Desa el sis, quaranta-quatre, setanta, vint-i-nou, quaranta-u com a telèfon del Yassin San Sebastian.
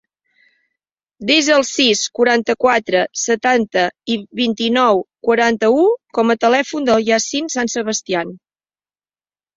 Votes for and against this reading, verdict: 0, 2, rejected